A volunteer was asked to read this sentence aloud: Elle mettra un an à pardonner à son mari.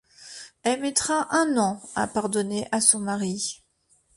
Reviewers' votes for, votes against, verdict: 2, 0, accepted